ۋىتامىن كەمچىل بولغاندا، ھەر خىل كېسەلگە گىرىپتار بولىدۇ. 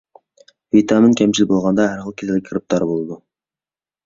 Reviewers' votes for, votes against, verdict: 2, 1, accepted